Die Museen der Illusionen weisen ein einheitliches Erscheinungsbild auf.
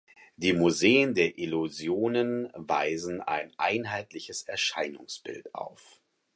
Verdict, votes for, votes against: accepted, 4, 0